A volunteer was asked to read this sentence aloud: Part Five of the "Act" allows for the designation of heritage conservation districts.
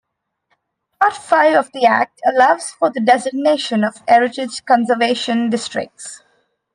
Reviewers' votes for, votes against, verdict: 2, 0, accepted